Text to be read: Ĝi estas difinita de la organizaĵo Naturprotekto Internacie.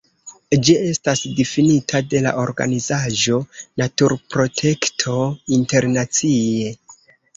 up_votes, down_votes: 2, 1